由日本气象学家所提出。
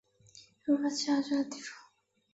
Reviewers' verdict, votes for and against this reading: rejected, 0, 3